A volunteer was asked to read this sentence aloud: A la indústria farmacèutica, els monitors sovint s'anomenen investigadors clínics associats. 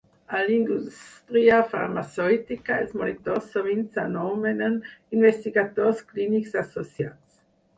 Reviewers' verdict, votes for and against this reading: rejected, 0, 4